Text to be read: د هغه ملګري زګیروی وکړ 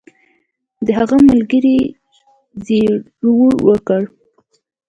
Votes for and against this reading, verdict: 2, 0, accepted